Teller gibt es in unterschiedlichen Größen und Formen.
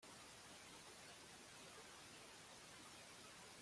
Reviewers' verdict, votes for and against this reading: rejected, 0, 2